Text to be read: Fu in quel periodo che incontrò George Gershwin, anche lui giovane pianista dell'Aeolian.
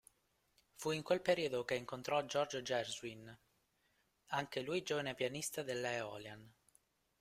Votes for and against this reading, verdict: 1, 2, rejected